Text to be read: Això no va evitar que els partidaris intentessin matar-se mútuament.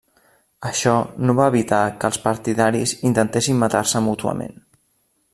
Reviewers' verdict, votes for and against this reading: accepted, 3, 0